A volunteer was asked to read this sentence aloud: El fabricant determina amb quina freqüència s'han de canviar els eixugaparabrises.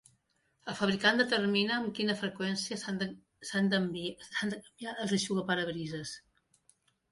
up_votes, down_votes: 0, 2